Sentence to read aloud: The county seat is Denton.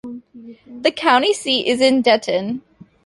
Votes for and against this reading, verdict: 1, 2, rejected